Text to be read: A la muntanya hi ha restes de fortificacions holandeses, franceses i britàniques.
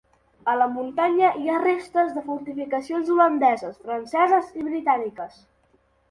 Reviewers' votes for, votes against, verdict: 3, 0, accepted